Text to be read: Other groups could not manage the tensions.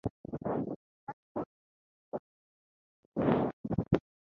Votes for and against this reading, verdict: 0, 4, rejected